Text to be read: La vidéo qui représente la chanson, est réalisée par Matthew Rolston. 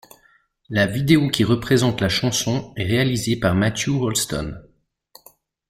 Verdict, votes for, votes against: accepted, 2, 0